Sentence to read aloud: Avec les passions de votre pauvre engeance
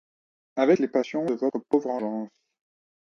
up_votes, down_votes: 1, 2